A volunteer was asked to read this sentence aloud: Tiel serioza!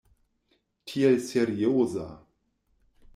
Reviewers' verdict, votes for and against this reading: rejected, 1, 2